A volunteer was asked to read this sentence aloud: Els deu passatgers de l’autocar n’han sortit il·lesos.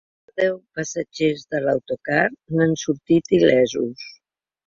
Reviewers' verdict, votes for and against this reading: rejected, 0, 2